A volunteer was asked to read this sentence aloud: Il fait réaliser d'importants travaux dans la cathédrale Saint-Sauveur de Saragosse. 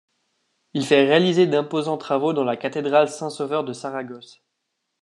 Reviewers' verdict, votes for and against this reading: rejected, 0, 2